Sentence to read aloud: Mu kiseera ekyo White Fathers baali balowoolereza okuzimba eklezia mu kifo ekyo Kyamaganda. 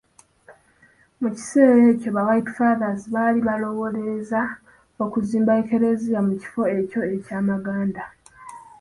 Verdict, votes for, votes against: accepted, 2, 1